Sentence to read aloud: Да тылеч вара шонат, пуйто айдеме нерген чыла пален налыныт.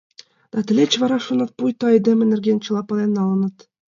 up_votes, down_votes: 2, 0